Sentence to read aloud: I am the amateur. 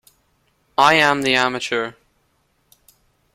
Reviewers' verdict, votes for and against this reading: accepted, 2, 0